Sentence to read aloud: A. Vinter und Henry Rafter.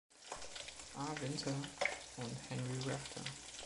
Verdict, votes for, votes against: rejected, 0, 2